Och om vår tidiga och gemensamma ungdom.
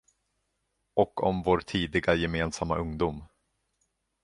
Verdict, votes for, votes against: rejected, 1, 2